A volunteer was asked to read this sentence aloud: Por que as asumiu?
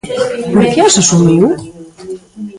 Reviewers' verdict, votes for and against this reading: rejected, 0, 2